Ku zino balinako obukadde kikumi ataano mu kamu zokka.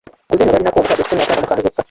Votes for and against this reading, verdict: 0, 2, rejected